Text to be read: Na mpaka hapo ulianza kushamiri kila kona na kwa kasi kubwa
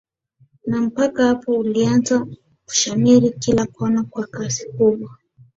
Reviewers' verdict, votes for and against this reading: accepted, 3, 0